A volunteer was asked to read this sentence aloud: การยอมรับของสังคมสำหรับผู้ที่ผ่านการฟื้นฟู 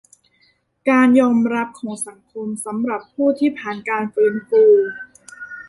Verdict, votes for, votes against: accepted, 2, 1